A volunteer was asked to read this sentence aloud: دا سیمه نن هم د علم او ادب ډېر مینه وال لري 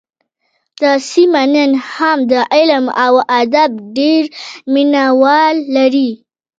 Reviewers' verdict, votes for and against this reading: accepted, 2, 0